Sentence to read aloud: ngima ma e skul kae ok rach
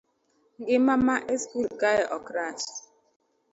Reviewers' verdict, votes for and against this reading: accepted, 2, 0